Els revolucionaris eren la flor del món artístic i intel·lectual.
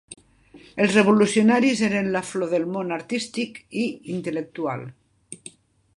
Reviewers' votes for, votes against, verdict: 2, 0, accepted